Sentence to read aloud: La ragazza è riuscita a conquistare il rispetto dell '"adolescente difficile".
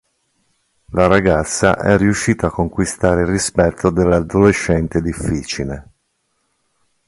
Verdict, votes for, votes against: accepted, 2, 0